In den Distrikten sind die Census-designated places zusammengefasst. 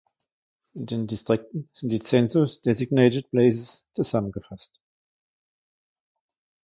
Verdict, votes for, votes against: accepted, 2, 0